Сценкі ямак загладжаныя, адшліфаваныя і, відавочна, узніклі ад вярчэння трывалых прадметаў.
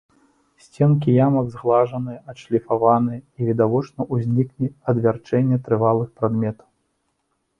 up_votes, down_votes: 2, 0